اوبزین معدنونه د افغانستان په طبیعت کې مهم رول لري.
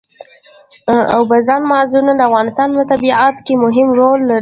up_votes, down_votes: 1, 2